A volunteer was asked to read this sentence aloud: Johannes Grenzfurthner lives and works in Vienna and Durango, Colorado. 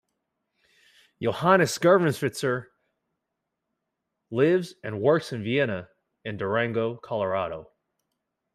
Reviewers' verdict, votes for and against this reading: rejected, 0, 2